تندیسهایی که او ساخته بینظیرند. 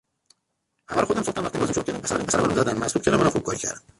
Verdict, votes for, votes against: rejected, 0, 2